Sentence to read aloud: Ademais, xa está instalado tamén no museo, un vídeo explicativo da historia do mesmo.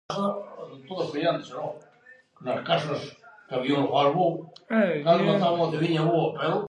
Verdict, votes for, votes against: rejected, 0, 2